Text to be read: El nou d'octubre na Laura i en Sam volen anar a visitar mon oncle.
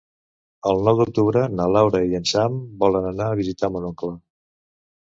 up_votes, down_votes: 2, 0